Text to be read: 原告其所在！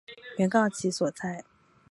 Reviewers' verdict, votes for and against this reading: accepted, 2, 0